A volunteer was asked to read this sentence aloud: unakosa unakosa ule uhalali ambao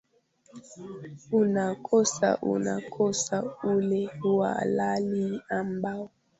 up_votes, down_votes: 2, 1